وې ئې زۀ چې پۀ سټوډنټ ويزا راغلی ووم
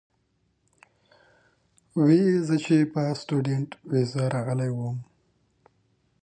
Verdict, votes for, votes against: rejected, 1, 2